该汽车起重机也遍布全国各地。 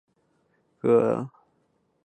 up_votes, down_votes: 1, 4